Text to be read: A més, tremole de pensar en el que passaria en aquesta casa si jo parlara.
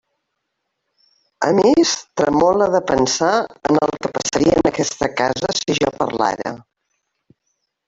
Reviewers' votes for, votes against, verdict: 0, 2, rejected